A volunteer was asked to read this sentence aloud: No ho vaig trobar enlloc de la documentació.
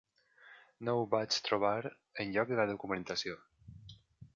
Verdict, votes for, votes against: accepted, 3, 0